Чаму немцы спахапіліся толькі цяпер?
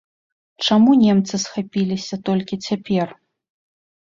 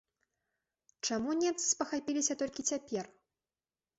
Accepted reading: second